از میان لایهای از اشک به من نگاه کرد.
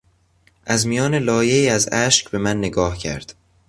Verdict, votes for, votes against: accepted, 2, 0